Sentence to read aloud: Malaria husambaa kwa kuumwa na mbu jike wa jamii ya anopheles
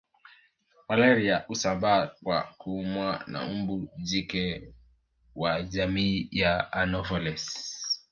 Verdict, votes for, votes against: accepted, 3, 0